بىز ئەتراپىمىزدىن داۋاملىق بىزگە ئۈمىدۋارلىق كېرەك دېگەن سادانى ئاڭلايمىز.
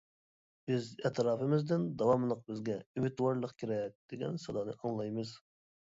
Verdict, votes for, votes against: accepted, 2, 0